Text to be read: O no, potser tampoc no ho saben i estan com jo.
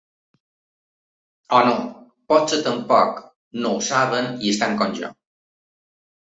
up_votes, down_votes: 2, 0